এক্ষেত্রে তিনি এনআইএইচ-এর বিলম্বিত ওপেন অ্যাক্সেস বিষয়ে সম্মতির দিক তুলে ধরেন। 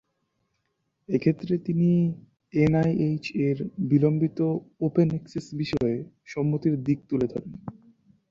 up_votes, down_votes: 2, 0